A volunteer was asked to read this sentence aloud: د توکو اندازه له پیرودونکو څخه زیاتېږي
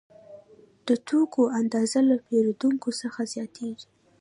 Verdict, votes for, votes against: accepted, 2, 0